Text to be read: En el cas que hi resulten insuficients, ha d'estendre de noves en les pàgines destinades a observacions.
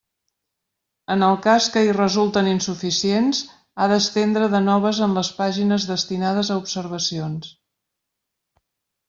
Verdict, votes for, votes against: accepted, 3, 0